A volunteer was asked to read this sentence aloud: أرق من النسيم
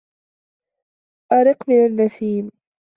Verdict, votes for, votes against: rejected, 0, 2